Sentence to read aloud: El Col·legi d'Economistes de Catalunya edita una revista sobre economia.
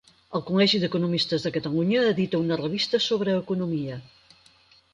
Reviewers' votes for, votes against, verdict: 4, 0, accepted